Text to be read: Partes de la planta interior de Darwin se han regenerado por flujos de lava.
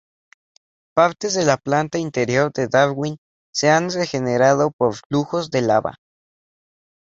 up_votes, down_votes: 2, 0